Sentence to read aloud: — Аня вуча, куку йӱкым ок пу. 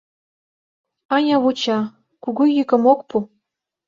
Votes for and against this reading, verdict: 0, 2, rejected